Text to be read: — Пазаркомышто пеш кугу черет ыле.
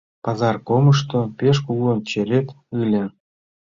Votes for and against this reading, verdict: 0, 2, rejected